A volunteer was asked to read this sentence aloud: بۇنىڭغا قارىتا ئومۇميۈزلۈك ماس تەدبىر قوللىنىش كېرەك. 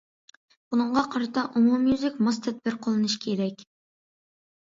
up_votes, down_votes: 2, 0